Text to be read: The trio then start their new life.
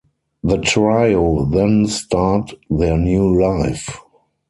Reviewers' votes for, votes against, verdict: 0, 4, rejected